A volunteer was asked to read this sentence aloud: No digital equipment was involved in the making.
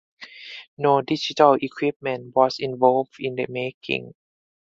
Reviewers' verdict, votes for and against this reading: accepted, 4, 0